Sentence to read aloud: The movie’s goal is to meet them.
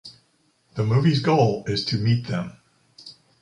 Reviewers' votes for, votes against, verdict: 2, 0, accepted